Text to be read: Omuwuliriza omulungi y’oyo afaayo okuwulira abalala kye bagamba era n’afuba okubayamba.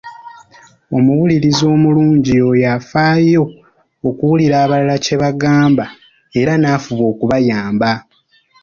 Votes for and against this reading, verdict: 3, 0, accepted